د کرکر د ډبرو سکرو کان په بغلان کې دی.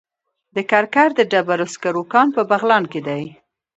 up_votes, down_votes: 1, 2